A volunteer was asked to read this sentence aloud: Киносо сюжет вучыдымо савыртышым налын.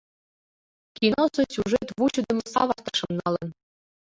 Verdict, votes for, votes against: rejected, 1, 2